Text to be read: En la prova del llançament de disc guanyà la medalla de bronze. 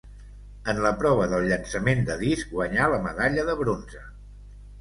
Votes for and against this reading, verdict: 3, 0, accepted